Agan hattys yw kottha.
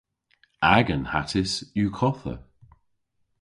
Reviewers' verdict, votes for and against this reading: accepted, 2, 0